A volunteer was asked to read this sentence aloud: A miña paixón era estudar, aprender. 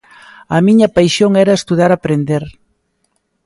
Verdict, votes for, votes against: accepted, 2, 0